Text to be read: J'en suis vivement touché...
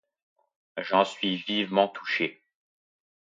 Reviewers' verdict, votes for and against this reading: accepted, 2, 0